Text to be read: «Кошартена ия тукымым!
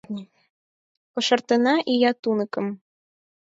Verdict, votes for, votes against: rejected, 0, 4